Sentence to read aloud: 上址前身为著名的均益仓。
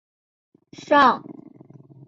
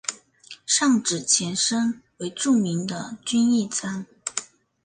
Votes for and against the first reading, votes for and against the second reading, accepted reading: 1, 2, 2, 0, second